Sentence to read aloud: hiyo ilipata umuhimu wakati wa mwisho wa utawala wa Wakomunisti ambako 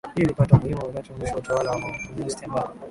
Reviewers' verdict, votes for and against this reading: rejected, 5, 5